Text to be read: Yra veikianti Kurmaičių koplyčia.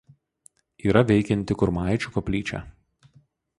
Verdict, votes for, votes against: accepted, 2, 0